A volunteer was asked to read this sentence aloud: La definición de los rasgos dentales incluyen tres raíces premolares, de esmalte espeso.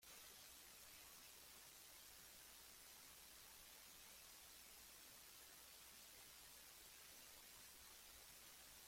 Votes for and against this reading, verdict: 0, 2, rejected